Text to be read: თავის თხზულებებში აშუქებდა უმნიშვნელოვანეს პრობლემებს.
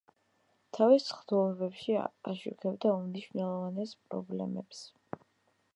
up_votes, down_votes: 1, 2